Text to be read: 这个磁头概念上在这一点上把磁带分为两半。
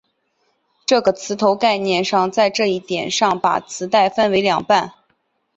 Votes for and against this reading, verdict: 5, 0, accepted